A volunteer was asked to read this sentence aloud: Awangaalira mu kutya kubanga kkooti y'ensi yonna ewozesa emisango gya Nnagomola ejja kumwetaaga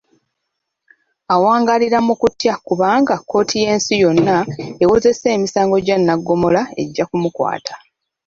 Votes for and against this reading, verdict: 0, 2, rejected